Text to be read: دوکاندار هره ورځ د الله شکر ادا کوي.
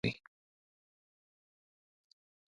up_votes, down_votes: 0, 2